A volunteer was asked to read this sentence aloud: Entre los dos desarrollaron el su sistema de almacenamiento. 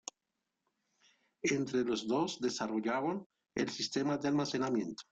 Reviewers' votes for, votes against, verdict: 1, 2, rejected